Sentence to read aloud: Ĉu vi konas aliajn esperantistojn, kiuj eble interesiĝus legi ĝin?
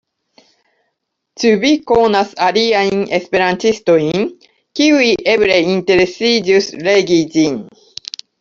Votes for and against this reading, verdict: 2, 0, accepted